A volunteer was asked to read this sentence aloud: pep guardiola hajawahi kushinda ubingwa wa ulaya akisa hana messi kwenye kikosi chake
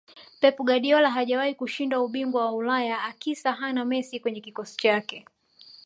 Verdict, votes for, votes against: accepted, 2, 0